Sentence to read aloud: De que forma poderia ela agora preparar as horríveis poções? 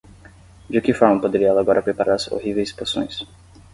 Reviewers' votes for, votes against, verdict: 10, 0, accepted